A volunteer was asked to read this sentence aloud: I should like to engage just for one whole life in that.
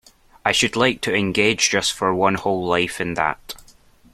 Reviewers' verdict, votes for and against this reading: accepted, 2, 0